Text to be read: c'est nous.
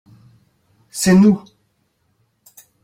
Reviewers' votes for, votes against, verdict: 2, 0, accepted